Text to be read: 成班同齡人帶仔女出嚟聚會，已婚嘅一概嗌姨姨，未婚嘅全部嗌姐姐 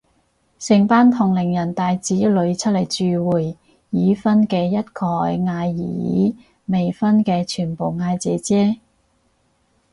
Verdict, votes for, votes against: rejected, 2, 2